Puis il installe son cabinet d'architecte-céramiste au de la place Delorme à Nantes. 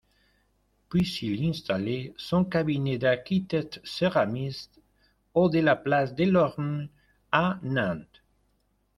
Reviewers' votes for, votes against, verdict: 1, 2, rejected